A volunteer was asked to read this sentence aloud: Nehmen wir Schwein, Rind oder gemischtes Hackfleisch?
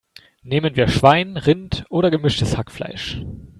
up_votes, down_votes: 2, 0